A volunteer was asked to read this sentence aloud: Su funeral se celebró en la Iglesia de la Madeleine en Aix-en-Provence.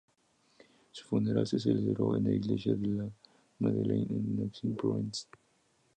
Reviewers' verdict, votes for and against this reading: rejected, 0, 2